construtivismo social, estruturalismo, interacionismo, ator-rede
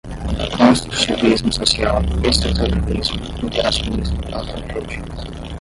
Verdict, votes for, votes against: rejected, 5, 5